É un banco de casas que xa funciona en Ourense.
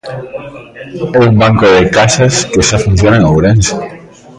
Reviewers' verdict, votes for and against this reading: rejected, 1, 2